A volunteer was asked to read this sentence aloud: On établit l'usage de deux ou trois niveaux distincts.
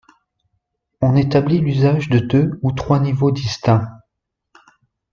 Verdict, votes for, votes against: accepted, 2, 0